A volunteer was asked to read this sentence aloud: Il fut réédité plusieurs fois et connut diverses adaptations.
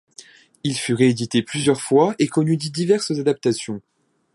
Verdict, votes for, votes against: rejected, 1, 2